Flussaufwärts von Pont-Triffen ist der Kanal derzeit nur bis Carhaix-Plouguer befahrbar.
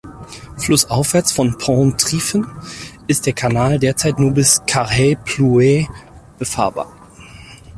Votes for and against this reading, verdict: 2, 4, rejected